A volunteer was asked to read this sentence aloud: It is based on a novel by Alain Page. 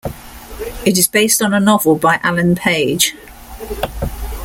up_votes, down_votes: 2, 0